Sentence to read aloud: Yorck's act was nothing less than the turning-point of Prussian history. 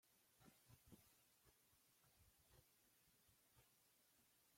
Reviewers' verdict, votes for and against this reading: rejected, 0, 2